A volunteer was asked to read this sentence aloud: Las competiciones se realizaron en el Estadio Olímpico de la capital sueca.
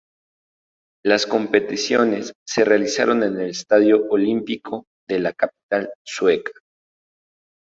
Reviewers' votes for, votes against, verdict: 2, 2, rejected